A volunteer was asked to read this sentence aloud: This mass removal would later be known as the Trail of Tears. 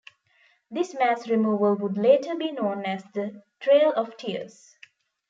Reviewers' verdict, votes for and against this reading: rejected, 0, 2